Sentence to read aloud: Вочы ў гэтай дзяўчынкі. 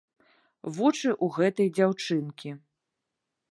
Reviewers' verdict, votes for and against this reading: rejected, 1, 2